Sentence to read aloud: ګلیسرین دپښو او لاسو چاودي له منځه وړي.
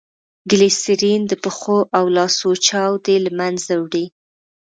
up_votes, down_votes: 2, 0